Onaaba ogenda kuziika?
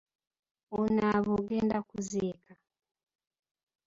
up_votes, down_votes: 0, 2